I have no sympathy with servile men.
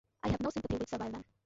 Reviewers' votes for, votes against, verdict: 0, 2, rejected